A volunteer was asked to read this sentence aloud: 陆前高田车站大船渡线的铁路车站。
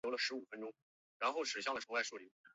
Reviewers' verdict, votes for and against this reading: rejected, 4, 5